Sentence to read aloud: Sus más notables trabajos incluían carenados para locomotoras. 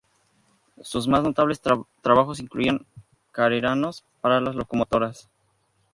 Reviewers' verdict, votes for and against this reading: rejected, 0, 2